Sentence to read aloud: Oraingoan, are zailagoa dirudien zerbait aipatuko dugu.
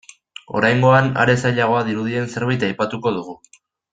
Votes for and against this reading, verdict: 2, 0, accepted